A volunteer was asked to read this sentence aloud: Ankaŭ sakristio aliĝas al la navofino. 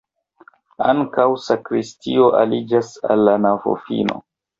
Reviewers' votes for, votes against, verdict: 2, 1, accepted